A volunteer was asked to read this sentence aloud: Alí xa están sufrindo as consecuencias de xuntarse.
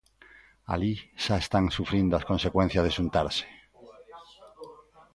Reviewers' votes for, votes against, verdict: 0, 2, rejected